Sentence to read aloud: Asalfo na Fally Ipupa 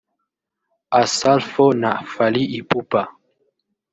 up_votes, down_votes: 1, 2